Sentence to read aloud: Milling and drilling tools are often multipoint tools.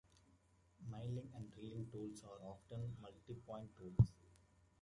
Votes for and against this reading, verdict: 0, 2, rejected